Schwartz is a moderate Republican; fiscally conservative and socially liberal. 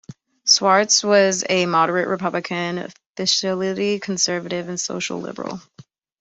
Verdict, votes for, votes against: rejected, 0, 2